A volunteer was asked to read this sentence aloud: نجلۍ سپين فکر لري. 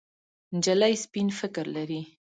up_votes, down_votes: 2, 0